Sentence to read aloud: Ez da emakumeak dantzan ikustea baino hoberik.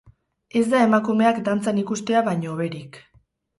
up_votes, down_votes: 2, 2